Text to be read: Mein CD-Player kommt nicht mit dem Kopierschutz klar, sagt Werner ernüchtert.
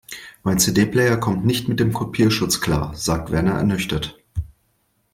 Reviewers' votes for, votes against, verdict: 2, 0, accepted